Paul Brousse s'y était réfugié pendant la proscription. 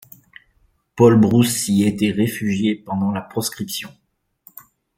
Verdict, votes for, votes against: accepted, 3, 0